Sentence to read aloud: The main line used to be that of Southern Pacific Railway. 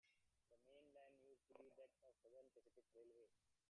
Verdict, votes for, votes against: rejected, 0, 2